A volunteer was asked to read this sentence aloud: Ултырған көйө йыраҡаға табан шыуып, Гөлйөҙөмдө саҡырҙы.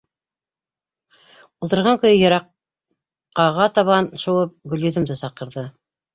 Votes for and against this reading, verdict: 1, 2, rejected